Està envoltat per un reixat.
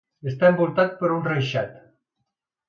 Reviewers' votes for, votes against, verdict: 2, 0, accepted